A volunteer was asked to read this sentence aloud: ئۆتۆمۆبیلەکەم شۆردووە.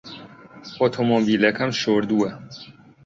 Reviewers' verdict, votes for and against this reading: accepted, 2, 0